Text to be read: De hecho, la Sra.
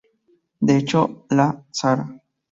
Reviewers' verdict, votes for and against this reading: rejected, 0, 4